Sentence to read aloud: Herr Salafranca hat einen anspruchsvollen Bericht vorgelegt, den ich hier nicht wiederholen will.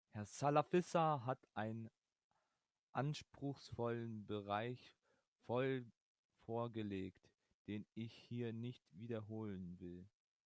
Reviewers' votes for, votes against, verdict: 0, 2, rejected